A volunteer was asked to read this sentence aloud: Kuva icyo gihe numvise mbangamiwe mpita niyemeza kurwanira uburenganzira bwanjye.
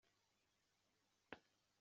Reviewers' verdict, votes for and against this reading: rejected, 0, 2